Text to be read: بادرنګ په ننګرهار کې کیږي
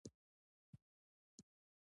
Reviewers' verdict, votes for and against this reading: rejected, 1, 2